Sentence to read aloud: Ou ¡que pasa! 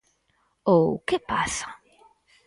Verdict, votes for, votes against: accepted, 4, 0